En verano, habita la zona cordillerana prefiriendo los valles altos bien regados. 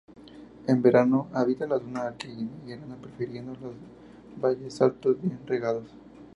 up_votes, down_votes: 0, 2